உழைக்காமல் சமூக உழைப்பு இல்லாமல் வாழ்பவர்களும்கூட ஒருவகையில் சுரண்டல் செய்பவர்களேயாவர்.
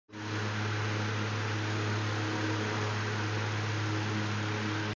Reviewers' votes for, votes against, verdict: 1, 2, rejected